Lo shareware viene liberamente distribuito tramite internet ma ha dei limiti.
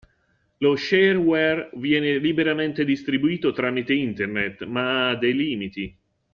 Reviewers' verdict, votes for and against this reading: accepted, 2, 0